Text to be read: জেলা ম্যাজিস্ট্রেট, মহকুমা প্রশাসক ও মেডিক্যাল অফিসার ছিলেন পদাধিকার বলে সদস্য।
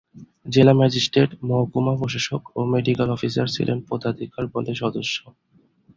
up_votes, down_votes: 2, 0